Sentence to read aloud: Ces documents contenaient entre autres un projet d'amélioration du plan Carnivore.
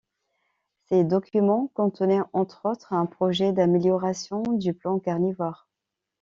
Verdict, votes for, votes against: accepted, 2, 0